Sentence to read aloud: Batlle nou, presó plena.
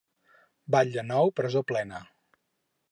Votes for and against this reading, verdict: 6, 0, accepted